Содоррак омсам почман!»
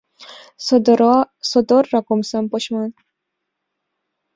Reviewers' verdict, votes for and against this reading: rejected, 1, 2